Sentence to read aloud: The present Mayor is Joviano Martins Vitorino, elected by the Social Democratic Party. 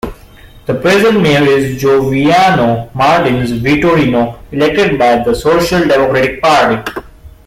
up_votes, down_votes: 2, 1